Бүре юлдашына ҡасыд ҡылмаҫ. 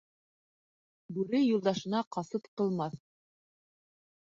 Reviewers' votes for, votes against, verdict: 2, 0, accepted